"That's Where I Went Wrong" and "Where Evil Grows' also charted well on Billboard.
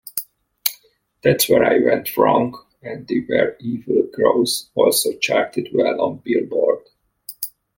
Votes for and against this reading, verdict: 0, 2, rejected